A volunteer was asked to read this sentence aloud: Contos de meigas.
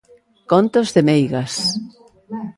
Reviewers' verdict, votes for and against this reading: accepted, 2, 1